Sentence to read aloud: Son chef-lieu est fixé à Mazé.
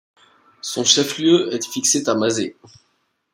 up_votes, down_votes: 1, 2